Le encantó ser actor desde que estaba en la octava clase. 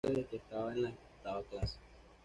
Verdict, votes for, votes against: rejected, 1, 2